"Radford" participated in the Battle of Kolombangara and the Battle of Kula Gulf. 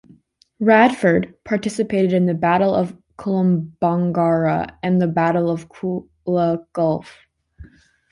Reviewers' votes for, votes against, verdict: 1, 2, rejected